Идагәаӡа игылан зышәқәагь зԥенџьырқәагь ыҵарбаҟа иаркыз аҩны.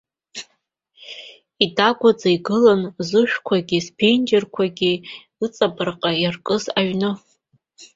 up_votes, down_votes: 2, 1